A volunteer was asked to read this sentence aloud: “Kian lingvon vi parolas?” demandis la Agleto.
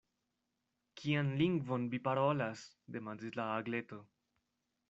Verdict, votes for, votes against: accepted, 2, 0